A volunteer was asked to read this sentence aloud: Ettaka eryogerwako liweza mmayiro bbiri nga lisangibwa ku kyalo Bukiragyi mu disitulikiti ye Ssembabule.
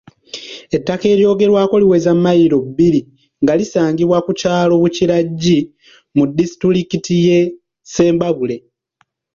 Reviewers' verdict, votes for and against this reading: accepted, 2, 0